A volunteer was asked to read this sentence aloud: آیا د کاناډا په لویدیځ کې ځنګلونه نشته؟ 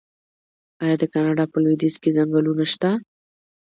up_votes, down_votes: 2, 0